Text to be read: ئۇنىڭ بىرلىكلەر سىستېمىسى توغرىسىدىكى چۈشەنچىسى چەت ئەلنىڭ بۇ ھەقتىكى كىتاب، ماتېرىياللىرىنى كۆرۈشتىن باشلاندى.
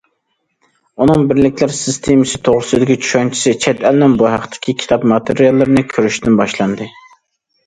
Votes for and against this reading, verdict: 2, 0, accepted